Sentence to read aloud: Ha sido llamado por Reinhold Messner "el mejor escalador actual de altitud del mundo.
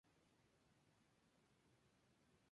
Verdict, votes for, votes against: rejected, 0, 2